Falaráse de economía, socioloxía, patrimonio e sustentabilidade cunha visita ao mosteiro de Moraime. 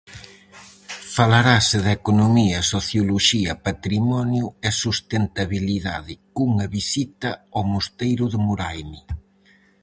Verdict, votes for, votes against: rejected, 0, 4